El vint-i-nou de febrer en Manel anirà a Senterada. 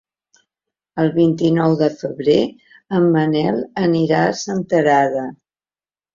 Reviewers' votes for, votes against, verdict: 3, 0, accepted